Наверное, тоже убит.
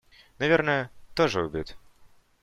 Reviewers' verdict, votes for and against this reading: accepted, 2, 0